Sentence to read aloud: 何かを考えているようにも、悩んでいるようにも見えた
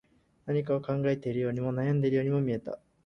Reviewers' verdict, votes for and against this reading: accepted, 4, 0